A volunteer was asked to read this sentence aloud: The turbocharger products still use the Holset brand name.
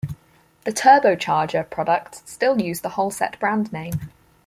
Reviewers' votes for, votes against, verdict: 4, 0, accepted